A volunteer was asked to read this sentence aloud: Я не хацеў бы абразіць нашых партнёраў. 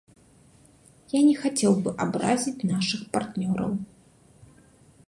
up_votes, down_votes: 2, 0